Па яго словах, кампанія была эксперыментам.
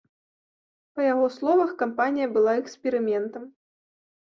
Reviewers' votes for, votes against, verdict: 2, 0, accepted